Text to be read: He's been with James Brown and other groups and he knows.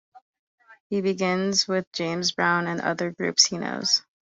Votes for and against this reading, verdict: 0, 2, rejected